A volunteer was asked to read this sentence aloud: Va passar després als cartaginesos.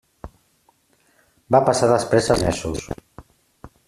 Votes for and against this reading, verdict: 0, 2, rejected